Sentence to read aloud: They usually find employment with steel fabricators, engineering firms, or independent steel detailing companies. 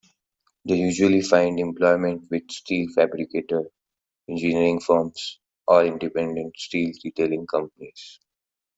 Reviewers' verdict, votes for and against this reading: accepted, 2, 0